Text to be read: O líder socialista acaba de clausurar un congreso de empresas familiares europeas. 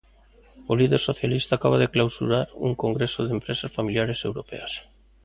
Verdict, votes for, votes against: accepted, 2, 0